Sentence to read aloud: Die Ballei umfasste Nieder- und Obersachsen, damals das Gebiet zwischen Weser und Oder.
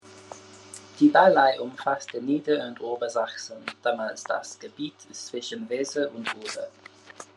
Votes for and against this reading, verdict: 2, 0, accepted